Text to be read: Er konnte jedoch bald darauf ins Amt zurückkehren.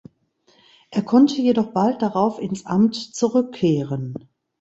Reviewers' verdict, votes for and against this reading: accepted, 2, 0